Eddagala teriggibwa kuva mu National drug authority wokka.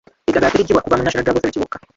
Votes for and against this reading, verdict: 0, 2, rejected